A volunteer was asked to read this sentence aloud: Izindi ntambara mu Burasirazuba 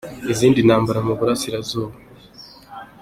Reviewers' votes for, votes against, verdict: 2, 1, accepted